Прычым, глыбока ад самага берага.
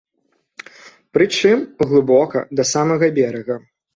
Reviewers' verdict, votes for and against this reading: rejected, 1, 2